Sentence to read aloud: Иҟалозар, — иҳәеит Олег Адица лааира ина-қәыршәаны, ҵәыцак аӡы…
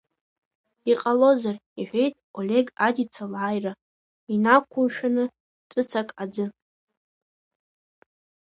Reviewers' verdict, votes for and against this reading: rejected, 0, 2